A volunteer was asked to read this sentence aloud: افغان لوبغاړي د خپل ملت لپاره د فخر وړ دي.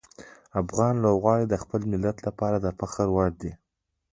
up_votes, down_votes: 3, 1